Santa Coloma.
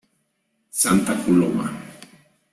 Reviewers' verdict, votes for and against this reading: accepted, 2, 0